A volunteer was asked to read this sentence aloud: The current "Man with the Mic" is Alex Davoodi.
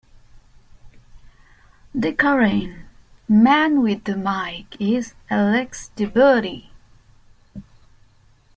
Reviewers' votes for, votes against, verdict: 2, 0, accepted